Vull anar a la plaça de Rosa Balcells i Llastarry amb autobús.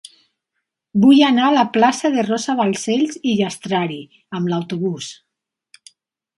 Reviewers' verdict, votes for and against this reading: rejected, 0, 2